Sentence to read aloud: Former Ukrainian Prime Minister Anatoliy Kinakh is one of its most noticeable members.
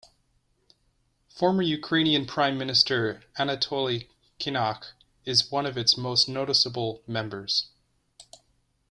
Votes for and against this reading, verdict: 2, 0, accepted